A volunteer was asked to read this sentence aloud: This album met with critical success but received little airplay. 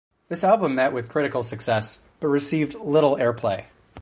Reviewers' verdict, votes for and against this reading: accepted, 4, 0